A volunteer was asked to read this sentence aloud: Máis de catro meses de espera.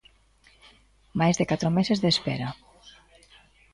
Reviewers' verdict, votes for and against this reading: accepted, 2, 0